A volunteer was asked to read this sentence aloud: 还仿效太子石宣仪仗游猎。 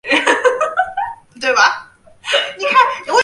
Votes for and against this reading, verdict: 0, 4, rejected